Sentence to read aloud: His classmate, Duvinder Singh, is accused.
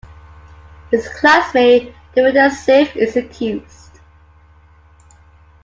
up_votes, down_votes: 2, 0